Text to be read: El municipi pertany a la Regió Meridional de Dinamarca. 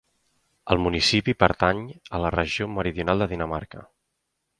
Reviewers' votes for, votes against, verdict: 4, 0, accepted